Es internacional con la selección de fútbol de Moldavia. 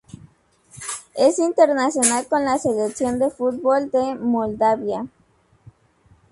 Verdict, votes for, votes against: accepted, 4, 0